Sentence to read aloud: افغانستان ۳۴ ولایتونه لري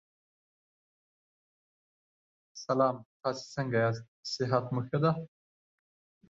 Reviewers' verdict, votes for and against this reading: rejected, 0, 2